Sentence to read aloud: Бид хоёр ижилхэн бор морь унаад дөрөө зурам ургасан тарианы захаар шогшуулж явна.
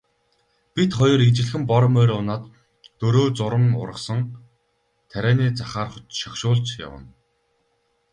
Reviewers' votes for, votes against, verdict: 0, 2, rejected